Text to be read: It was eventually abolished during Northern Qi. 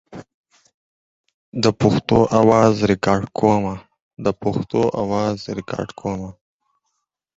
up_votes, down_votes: 0, 4